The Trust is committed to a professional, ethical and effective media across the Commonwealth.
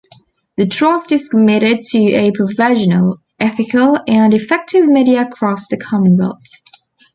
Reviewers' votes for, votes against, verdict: 0, 2, rejected